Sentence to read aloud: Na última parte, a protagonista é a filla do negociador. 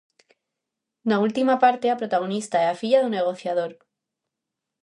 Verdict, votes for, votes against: accepted, 2, 0